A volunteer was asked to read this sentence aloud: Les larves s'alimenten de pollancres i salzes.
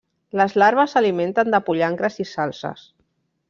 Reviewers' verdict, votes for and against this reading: rejected, 0, 2